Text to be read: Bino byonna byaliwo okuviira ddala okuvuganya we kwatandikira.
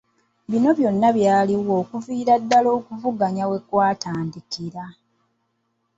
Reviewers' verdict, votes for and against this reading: accepted, 2, 0